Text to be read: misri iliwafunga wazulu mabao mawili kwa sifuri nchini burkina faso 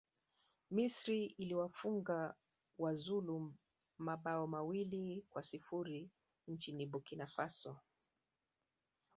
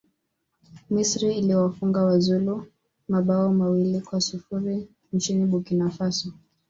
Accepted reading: second